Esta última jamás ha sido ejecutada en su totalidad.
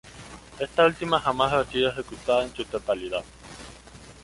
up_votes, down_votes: 2, 0